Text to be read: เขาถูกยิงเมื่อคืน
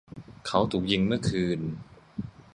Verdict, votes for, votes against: rejected, 0, 2